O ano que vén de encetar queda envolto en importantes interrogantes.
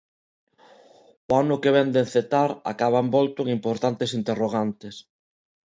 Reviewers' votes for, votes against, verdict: 0, 2, rejected